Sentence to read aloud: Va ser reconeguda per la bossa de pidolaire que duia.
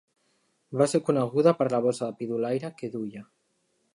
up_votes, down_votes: 1, 2